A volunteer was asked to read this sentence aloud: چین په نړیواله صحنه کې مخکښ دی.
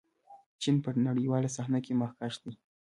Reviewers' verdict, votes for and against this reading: rejected, 0, 2